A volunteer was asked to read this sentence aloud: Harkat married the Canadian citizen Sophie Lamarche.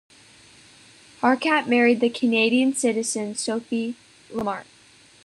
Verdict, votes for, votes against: accepted, 2, 0